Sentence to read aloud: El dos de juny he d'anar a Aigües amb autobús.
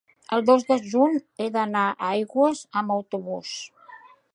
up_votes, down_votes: 3, 0